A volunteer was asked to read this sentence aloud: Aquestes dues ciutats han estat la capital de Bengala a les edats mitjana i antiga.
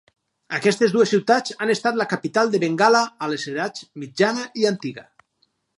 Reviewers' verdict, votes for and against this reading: accepted, 4, 0